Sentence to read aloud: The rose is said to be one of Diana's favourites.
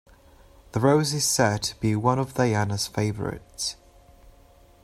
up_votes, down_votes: 2, 1